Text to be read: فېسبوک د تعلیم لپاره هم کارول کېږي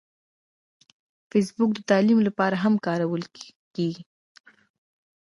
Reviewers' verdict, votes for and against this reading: accepted, 2, 0